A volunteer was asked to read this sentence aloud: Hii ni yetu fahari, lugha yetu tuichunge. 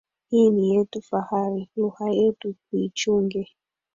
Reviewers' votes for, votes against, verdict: 1, 2, rejected